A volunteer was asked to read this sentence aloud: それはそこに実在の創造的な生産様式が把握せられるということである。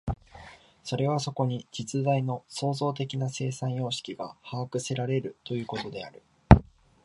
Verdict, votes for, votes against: accepted, 2, 0